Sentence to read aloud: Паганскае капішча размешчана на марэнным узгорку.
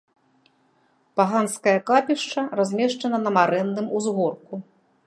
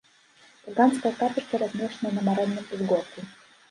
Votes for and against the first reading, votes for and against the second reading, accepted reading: 2, 0, 1, 2, first